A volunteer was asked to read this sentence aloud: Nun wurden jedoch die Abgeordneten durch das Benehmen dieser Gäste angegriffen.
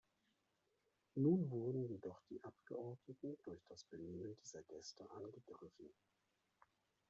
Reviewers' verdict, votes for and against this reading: rejected, 1, 2